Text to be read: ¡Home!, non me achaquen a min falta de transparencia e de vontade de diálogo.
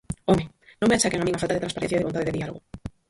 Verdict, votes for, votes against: rejected, 0, 4